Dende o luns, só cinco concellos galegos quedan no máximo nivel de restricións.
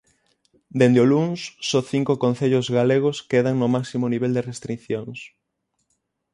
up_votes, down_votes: 0, 6